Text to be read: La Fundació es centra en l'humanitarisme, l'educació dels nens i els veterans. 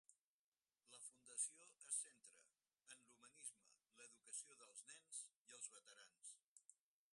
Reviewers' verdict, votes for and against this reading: rejected, 0, 4